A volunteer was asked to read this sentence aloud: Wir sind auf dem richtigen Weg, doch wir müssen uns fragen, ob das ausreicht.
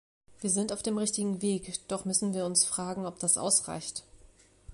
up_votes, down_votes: 0, 2